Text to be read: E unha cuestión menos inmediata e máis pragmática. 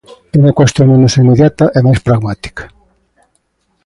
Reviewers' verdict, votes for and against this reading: accepted, 2, 1